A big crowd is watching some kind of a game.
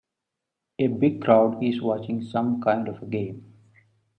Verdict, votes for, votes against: accepted, 2, 0